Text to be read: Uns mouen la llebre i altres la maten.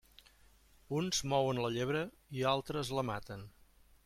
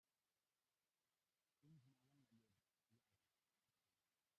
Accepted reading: first